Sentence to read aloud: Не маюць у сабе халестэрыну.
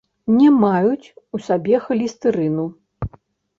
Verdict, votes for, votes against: rejected, 0, 2